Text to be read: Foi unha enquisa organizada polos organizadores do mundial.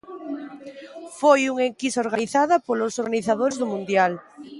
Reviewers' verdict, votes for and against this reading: rejected, 0, 2